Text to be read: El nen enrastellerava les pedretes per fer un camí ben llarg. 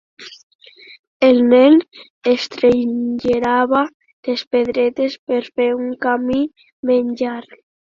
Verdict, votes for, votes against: rejected, 0, 3